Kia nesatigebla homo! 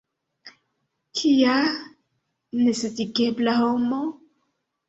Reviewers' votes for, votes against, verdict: 2, 1, accepted